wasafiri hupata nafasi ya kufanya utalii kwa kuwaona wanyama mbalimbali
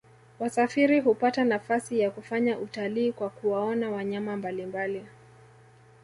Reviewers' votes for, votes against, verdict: 2, 0, accepted